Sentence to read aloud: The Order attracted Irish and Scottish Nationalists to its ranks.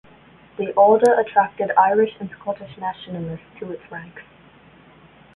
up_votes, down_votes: 2, 0